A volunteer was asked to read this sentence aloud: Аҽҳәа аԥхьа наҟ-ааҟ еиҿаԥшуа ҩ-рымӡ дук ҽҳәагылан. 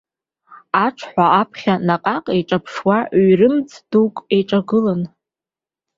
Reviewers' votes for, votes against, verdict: 3, 4, rejected